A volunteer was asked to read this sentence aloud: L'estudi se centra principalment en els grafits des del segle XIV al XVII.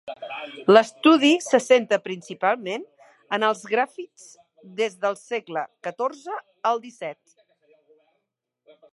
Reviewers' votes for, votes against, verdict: 0, 2, rejected